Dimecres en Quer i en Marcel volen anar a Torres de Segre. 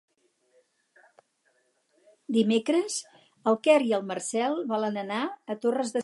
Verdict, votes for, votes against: rejected, 2, 4